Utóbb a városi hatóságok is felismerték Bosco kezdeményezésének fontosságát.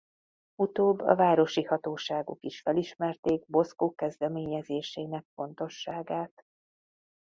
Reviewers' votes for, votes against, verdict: 2, 0, accepted